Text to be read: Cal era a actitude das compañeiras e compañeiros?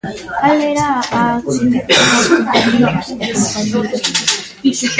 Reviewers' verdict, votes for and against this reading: rejected, 0, 3